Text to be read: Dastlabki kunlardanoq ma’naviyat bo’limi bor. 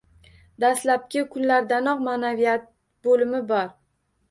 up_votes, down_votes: 2, 1